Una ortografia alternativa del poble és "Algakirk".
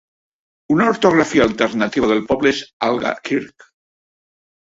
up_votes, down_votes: 2, 0